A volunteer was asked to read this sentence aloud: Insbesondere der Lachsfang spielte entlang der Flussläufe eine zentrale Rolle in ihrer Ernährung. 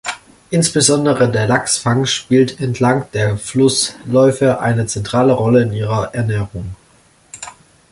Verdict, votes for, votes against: rejected, 1, 2